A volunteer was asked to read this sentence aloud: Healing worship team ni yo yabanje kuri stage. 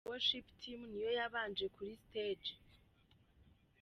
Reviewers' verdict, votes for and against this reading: rejected, 1, 2